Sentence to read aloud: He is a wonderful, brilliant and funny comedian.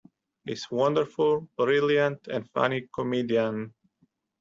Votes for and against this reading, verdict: 1, 2, rejected